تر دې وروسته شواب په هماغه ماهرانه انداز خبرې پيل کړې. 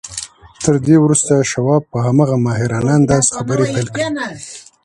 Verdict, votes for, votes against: rejected, 1, 2